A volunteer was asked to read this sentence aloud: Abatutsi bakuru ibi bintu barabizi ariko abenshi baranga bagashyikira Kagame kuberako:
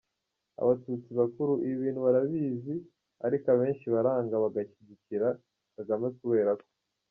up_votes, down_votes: 2, 1